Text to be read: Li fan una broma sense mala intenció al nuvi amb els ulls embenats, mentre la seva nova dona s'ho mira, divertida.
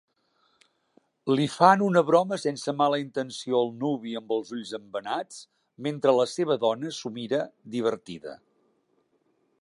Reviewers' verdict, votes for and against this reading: rejected, 0, 3